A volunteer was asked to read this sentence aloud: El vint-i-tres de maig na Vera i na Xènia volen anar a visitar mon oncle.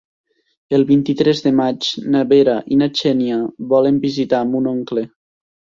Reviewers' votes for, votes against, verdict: 0, 2, rejected